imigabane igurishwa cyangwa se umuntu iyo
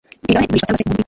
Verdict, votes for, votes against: rejected, 0, 2